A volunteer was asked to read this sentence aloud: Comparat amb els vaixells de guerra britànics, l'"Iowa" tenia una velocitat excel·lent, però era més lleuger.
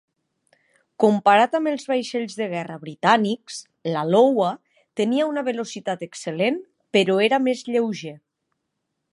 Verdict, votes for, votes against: rejected, 1, 2